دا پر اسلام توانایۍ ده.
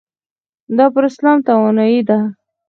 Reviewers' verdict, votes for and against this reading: accepted, 6, 0